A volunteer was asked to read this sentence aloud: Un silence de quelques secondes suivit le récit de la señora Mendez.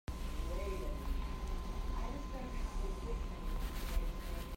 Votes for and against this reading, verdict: 0, 2, rejected